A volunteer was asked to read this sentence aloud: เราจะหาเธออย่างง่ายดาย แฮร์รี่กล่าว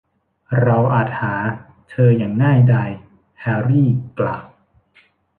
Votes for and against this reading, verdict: 0, 2, rejected